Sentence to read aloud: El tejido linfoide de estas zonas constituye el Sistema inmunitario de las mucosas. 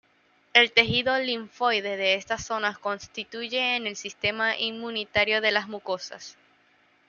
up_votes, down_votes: 1, 2